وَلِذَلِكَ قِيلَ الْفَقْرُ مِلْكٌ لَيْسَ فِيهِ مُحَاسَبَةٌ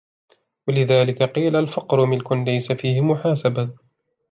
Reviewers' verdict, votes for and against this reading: accepted, 2, 0